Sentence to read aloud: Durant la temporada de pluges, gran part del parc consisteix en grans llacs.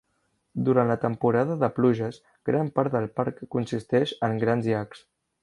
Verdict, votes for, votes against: accepted, 3, 0